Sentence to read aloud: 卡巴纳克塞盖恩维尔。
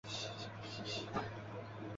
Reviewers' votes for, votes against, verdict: 0, 2, rejected